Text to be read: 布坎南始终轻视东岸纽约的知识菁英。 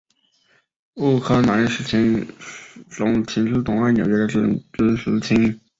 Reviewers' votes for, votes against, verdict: 0, 5, rejected